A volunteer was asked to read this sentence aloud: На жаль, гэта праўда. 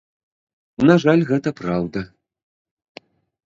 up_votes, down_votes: 2, 0